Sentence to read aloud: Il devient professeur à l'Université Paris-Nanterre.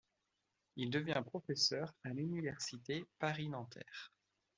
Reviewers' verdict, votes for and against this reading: rejected, 0, 2